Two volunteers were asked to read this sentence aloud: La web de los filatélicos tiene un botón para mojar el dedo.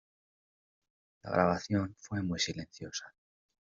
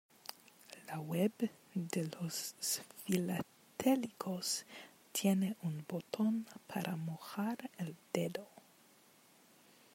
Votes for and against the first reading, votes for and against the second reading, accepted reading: 0, 2, 2, 1, second